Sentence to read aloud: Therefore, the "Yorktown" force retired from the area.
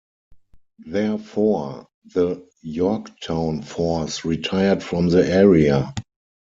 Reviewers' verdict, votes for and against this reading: accepted, 4, 0